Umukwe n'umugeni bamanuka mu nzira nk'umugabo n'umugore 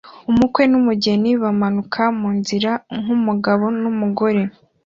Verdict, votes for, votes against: accepted, 2, 0